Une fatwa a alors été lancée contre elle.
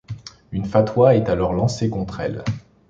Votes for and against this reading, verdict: 0, 2, rejected